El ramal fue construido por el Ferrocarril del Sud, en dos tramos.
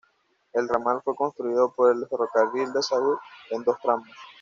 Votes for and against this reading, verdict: 1, 2, rejected